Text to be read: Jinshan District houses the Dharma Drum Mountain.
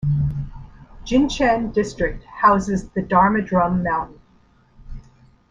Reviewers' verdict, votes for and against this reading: accepted, 2, 1